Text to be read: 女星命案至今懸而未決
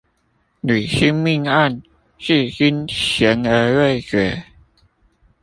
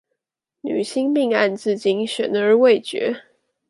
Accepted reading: second